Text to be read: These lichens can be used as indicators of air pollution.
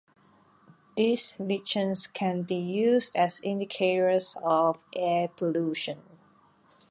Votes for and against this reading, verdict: 2, 0, accepted